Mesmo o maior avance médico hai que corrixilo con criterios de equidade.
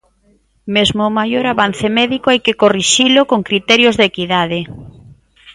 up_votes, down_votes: 2, 0